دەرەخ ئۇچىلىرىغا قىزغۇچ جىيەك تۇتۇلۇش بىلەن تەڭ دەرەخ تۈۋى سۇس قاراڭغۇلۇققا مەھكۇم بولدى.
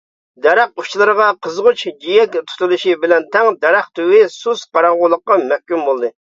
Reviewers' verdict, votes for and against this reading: rejected, 0, 2